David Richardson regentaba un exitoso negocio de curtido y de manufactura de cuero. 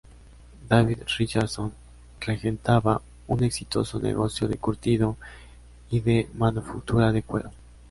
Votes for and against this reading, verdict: 2, 0, accepted